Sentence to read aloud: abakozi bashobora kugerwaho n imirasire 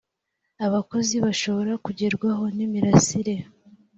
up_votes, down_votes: 2, 0